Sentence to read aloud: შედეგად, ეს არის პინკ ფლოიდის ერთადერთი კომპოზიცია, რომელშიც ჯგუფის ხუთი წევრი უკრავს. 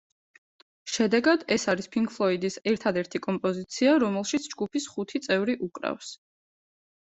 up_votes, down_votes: 2, 1